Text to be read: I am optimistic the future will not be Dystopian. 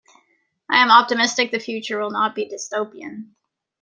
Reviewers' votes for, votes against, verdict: 2, 1, accepted